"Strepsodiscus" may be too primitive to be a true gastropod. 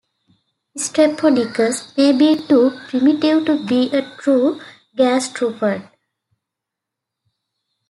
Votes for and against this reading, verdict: 2, 1, accepted